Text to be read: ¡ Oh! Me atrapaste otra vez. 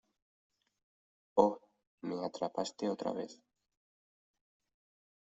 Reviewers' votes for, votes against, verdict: 2, 0, accepted